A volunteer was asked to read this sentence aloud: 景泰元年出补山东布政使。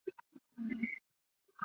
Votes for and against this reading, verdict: 1, 3, rejected